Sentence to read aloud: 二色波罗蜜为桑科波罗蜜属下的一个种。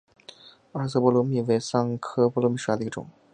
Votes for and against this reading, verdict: 2, 0, accepted